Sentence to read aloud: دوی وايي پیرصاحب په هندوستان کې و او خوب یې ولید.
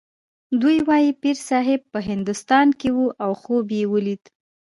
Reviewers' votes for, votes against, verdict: 2, 0, accepted